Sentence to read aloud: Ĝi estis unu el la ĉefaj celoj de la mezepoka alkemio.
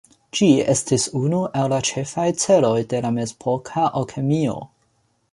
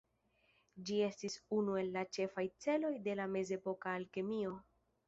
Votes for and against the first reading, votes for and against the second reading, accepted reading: 2, 1, 1, 2, first